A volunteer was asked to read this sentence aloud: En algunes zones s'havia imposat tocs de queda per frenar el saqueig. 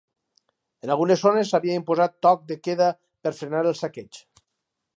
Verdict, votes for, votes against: rejected, 2, 2